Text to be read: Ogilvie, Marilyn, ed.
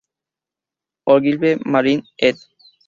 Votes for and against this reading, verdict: 0, 2, rejected